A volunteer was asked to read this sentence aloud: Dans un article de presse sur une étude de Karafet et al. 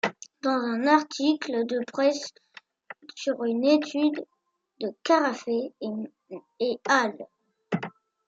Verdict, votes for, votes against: rejected, 0, 2